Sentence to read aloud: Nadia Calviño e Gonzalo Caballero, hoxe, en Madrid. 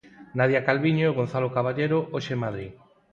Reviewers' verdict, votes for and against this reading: accepted, 4, 0